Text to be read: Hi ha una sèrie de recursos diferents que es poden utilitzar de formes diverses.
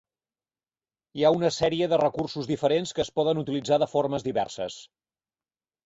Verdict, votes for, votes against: accepted, 6, 0